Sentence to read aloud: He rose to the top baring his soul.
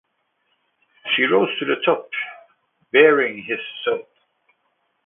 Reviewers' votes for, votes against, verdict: 2, 1, accepted